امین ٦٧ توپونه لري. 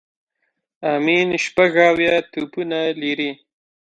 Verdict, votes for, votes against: rejected, 0, 2